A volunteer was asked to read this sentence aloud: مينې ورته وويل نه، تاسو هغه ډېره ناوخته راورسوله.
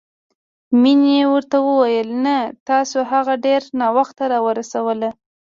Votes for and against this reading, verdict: 1, 2, rejected